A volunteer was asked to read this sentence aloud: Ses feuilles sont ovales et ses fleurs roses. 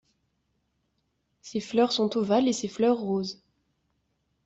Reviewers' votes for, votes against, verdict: 0, 2, rejected